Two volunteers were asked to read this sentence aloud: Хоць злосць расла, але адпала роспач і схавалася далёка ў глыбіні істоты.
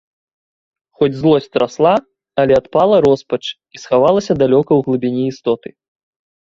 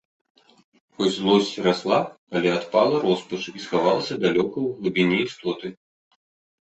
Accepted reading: first